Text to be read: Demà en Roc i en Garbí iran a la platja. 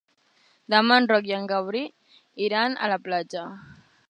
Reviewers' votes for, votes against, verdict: 1, 2, rejected